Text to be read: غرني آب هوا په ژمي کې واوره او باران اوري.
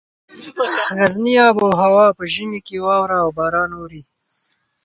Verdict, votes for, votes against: rejected, 0, 4